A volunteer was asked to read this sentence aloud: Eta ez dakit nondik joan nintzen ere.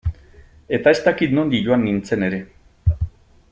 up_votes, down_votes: 2, 0